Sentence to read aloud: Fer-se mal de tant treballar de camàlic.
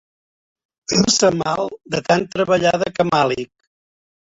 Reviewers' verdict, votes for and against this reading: rejected, 0, 2